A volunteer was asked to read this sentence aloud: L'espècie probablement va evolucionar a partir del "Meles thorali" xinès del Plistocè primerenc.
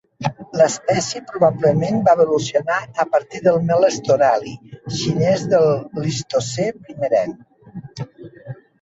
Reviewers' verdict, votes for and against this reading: accepted, 2, 0